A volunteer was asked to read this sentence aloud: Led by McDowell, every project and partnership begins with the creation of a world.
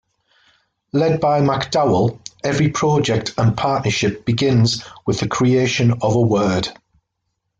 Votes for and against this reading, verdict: 0, 2, rejected